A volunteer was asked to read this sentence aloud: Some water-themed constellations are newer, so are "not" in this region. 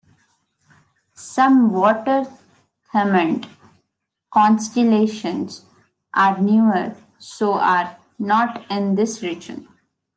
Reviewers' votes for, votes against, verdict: 0, 2, rejected